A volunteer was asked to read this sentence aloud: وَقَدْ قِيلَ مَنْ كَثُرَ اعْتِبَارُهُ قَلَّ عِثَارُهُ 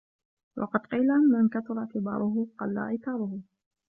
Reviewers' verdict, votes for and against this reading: rejected, 1, 2